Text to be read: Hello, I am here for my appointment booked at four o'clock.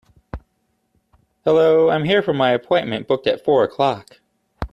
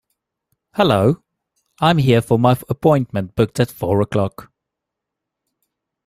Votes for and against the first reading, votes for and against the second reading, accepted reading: 2, 0, 1, 2, first